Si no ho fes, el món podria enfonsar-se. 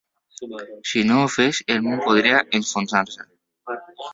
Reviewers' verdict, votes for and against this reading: rejected, 1, 2